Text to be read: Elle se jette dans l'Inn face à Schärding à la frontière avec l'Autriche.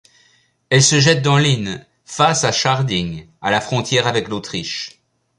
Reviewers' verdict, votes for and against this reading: accepted, 2, 0